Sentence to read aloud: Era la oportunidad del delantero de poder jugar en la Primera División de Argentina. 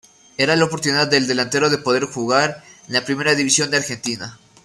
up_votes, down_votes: 2, 0